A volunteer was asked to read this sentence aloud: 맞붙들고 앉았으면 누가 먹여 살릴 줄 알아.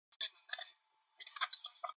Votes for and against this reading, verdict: 0, 2, rejected